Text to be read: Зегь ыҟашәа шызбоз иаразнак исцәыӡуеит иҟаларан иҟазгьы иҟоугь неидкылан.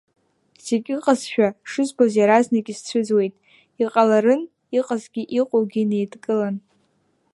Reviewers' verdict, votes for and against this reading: rejected, 1, 2